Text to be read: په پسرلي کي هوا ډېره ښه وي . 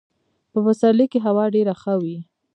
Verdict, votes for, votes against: accepted, 3, 0